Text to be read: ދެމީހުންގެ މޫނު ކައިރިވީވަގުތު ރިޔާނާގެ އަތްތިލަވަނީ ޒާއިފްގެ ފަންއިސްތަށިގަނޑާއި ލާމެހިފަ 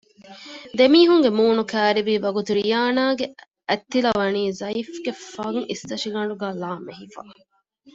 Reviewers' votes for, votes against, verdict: 1, 2, rejected